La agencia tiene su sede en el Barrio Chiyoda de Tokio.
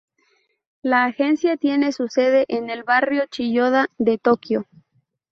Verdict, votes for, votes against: accepted, 2, 0